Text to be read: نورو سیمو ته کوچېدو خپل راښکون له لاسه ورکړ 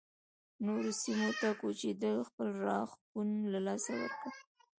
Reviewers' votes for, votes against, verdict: 2, 1, accepted